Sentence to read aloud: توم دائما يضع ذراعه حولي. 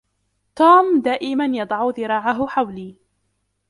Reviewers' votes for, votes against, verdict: 0, 2, rejected